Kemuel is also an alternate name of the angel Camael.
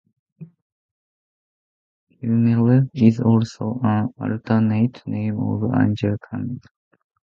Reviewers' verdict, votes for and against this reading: rejected, 0, 2